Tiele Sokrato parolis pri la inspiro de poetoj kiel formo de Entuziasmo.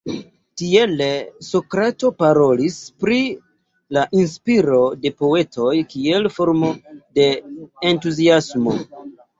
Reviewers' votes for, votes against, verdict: 2, 0, accepted